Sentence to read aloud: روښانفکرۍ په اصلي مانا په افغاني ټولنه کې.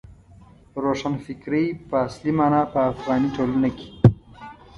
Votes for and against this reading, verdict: 2, 0, accepted